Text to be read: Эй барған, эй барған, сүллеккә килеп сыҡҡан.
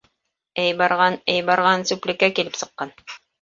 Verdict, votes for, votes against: rejected, 1, 2